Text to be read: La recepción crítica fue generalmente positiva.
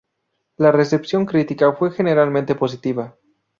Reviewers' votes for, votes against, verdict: 2, 0, accepted